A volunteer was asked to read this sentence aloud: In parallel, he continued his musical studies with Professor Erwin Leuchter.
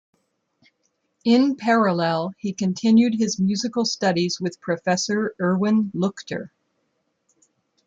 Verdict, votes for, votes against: accepted, 2, 0